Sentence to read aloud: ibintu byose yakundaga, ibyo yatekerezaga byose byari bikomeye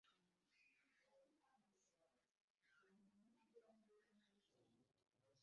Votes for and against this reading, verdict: 1, 2, rejected